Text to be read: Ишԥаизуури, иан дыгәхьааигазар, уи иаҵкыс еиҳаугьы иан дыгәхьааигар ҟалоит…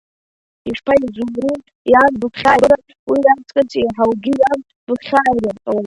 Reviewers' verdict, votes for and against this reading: rejected, 0, 2